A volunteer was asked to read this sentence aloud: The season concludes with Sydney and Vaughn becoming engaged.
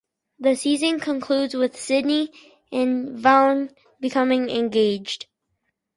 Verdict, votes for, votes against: accepted, 2, 0